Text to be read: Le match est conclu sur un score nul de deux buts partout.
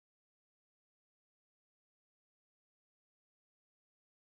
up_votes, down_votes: 0, 4